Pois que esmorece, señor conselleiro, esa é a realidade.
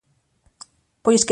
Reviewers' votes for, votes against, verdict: 0, 3, rejected